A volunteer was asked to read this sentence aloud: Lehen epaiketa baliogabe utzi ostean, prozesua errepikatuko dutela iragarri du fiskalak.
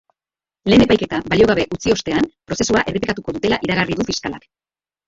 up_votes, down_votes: 0, 2